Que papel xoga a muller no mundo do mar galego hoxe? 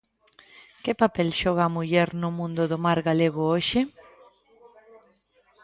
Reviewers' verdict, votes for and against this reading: rejected, 1, 2